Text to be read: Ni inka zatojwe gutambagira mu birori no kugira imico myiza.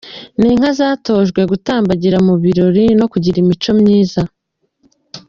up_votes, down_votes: 2, 0